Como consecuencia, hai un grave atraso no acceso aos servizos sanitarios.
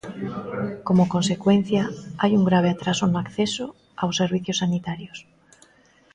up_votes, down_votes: 0, 2